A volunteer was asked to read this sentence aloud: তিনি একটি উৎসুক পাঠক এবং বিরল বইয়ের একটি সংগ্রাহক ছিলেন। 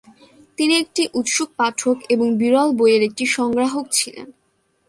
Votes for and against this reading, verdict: 3, 0, accepted